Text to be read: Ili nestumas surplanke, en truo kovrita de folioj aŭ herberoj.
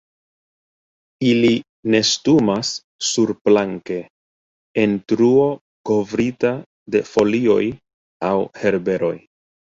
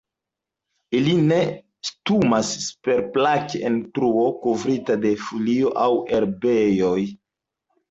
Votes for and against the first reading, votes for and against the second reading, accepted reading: 2, 0, 0, 3, first